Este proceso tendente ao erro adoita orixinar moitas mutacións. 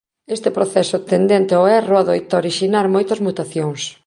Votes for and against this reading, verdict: 2, 0, accepted